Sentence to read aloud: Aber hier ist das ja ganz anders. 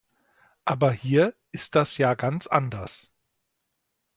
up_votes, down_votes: 2, 0